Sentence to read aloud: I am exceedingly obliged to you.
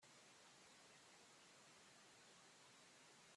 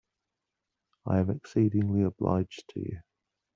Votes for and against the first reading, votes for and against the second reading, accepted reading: 0, 2, 2, 0, second